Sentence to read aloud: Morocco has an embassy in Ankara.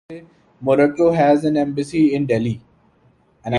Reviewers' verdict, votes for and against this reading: rejected, 0, 2